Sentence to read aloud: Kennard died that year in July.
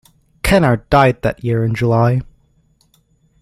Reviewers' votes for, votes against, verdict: 2, 0, accepted